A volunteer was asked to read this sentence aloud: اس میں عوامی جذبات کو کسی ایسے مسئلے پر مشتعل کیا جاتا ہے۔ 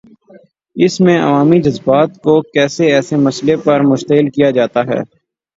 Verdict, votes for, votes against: rejected, 3, 3